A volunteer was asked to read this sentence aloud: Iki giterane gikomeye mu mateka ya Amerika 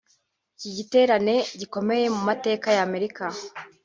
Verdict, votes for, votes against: rejected, 1, 2